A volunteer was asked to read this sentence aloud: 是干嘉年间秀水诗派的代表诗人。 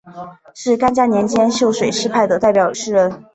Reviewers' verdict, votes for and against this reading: accepted, 2, 0